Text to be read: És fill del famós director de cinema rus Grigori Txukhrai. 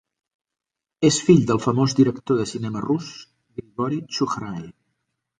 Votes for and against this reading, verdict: 2, 1, accepted